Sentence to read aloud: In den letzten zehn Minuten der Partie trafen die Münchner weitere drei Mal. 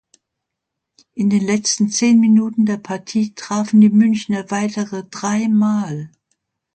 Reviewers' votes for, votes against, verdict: 2, 0, accepted